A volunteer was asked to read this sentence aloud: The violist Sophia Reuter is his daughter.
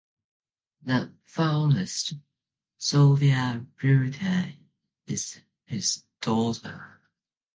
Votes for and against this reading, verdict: 2, 0, accepted